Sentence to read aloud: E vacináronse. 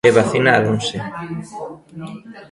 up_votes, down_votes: 2, 1